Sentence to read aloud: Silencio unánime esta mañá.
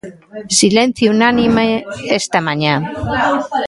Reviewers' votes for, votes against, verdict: 1, 2, rejected